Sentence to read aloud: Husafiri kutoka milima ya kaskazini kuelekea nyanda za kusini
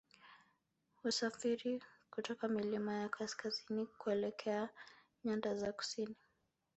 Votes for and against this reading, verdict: 1, 2, rejected